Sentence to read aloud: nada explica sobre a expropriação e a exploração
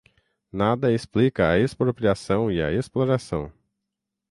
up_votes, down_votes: 0, 6